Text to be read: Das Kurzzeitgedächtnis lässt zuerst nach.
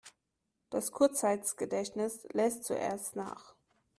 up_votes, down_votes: 1, 3